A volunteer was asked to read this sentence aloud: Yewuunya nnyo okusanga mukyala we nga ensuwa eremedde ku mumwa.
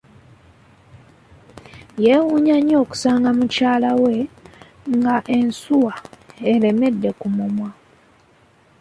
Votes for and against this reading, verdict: 2, 0, accepted